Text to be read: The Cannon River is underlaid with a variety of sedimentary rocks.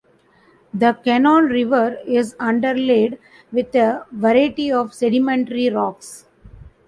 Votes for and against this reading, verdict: 2, 0, accepted